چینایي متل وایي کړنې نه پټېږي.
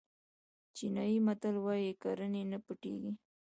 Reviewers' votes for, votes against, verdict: 1, 2, rejected